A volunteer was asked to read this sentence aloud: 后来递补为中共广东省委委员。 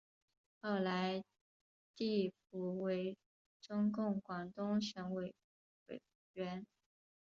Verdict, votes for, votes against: rejected, 2, 2